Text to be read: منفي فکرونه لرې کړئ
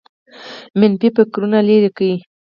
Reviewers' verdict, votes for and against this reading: rejected, 2, 4